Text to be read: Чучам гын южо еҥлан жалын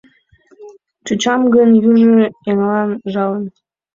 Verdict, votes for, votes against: rejected, 0, 2